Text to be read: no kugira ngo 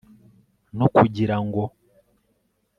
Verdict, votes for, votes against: accepted, 2, 0